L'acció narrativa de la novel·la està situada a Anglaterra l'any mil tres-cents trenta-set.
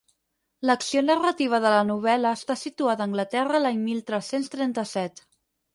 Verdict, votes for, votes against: accepted, 8, 0